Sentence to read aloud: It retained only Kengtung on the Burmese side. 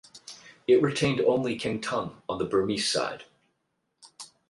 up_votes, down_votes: 4, 4